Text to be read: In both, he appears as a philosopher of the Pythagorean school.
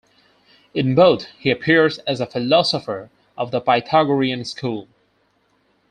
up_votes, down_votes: 4, 0